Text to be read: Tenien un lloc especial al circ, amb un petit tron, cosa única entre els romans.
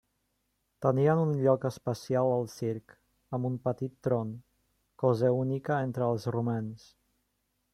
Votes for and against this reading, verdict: 3, 0, accepted